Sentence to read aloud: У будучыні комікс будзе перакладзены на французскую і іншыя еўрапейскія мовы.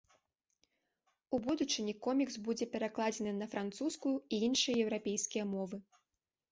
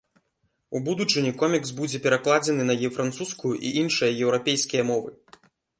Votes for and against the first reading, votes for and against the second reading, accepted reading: 2, 0, 0, 2, first